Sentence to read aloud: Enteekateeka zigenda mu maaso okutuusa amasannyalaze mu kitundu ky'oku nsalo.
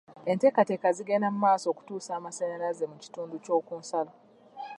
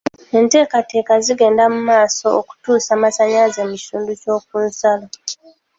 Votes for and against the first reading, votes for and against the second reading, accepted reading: 2, 0, 1, 2, first